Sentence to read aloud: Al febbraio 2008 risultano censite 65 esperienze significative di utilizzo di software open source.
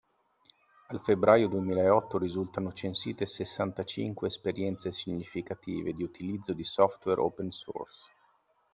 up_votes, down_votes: 0, 2